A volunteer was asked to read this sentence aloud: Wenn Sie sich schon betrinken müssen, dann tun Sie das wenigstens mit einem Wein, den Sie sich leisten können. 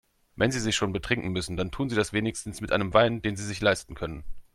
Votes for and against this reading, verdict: 2, 0, accepted